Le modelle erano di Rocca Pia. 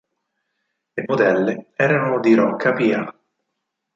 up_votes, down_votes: 4, 0